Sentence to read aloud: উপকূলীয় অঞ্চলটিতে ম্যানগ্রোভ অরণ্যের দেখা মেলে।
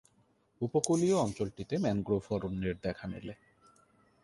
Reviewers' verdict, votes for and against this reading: rejected, 2, 3